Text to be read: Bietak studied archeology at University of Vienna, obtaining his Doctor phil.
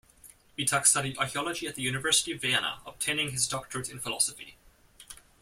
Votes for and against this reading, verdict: 0, 2, rejected